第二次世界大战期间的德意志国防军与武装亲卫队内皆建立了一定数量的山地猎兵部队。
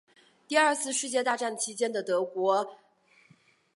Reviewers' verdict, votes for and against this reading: rejected, 0, 4